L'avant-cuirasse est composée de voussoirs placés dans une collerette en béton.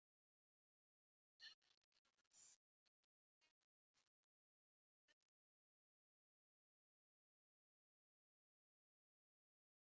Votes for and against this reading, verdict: 0, 2, rejected